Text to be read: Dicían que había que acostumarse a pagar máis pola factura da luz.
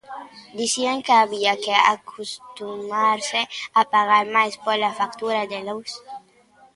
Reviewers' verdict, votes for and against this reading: rejected, 1, 2